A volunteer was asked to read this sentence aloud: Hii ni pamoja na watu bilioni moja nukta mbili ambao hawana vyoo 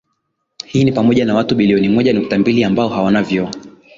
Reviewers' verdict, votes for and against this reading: rejected, 1, 2